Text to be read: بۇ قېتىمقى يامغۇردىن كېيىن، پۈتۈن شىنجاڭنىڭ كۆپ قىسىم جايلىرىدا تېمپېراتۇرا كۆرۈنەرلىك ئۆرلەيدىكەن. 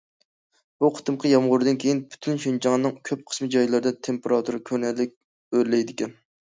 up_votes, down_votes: 2, 0